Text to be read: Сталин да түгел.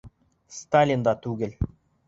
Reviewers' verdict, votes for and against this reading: accepted, 2, 0